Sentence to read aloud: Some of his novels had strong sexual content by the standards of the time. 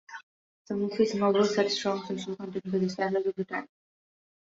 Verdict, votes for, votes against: rejected, 1, 2